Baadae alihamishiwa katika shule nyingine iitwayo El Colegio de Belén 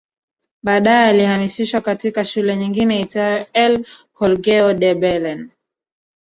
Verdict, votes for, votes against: rejected, 1, 2